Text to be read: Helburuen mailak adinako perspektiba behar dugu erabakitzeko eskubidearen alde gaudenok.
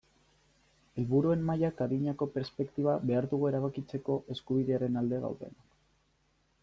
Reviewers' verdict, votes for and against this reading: accepted, 3, 1